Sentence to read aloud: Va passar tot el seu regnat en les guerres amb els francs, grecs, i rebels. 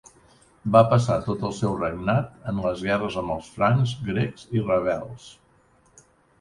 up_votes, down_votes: 2, 0